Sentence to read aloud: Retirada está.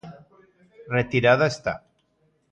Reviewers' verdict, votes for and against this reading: accepted, 2, 0